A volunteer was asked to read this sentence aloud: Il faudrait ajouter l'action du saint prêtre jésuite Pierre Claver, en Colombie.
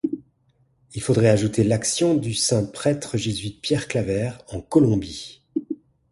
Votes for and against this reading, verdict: 4, 0, accepted